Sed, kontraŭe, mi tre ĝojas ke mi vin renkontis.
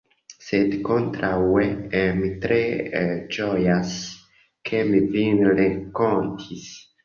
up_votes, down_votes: 0, 2